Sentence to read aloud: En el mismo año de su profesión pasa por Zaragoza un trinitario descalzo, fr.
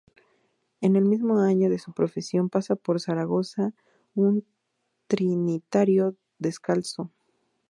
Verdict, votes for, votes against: rejected, 0, 2